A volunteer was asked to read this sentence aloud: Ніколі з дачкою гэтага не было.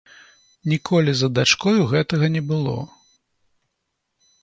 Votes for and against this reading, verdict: 1, 2, rejected